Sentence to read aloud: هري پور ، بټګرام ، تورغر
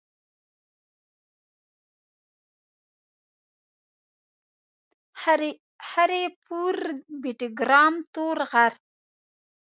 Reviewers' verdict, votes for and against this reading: rejected, 1, 2